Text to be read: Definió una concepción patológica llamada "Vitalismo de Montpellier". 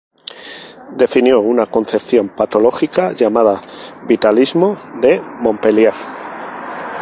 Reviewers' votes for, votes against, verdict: 2, 2, rejected